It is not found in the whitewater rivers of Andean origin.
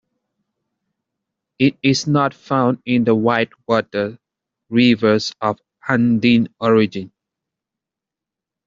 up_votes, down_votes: 2, 1